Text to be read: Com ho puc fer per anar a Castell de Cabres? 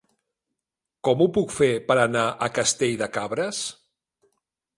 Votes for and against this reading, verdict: 2, 0, accepted